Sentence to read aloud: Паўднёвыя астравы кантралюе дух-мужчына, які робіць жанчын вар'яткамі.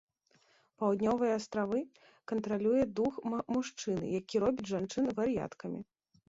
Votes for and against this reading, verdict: 1, 2, rejected